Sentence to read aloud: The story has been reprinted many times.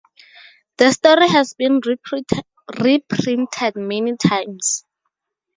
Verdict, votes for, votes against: rejected, 0, 4